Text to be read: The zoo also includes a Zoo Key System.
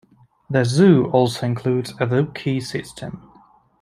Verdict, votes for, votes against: rejected, 0, 2